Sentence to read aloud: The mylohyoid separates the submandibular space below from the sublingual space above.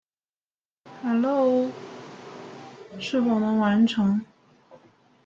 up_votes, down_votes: 0, 2